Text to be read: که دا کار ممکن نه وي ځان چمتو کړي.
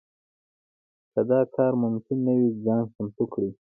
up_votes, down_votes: 2, 0